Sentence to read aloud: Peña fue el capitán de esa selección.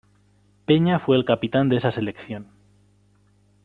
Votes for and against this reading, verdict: 2, 0, accepted